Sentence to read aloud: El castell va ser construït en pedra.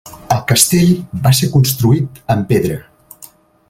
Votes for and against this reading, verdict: 3, 0, accepted